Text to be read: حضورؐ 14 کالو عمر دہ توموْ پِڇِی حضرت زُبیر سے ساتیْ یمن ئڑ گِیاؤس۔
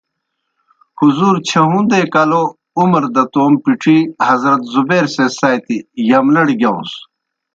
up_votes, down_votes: 0, 2